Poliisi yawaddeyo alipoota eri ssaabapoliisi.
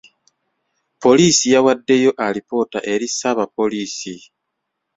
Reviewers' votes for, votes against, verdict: 2, 0, accepted